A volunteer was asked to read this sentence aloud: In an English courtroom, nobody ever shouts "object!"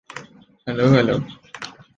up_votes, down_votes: 0, 2